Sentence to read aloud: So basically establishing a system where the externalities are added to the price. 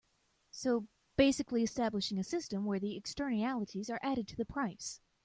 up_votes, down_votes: 0, 2